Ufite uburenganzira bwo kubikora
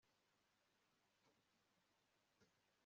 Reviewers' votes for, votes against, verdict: 0, 2, rejected